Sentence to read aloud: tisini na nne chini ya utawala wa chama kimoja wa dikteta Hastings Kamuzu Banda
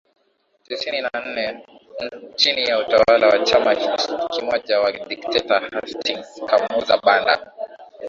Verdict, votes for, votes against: rejected, 0, 2